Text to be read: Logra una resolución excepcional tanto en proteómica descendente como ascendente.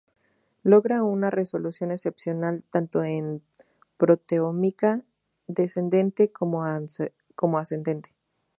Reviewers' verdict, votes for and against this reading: rejected, 0, 2